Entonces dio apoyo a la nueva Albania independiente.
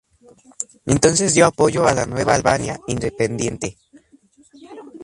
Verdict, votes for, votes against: rejected, 0, 2